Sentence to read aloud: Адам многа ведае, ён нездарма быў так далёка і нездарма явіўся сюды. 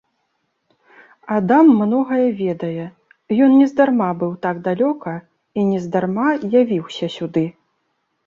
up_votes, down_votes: 1, 2